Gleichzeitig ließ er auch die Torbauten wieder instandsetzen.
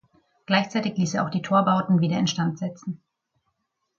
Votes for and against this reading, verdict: 2, 0, accepted